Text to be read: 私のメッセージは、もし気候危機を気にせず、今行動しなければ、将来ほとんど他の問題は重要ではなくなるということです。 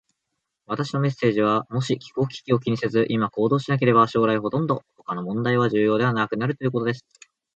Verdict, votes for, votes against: accepted, 2, 0